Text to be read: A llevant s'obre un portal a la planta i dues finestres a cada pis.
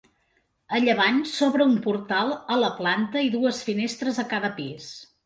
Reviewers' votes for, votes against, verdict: 2, 0, accepted